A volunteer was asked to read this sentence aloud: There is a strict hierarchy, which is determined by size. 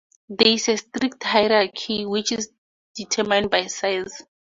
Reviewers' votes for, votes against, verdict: 0, 4, rejected